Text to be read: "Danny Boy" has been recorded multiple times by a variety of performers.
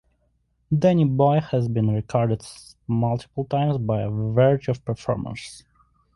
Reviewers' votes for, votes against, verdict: 2, 1, accepted